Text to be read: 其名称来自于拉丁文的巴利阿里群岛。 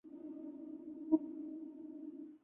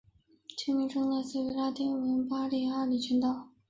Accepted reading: second